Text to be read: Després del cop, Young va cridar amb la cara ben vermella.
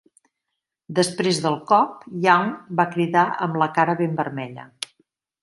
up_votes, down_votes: 2, 0